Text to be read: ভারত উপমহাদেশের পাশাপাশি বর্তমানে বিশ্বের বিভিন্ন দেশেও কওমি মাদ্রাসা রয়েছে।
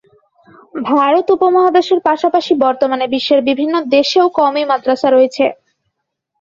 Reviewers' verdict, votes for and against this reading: accepted, 2, 0